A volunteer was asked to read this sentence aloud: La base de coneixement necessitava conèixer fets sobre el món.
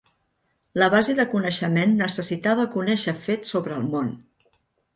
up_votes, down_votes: 2, 0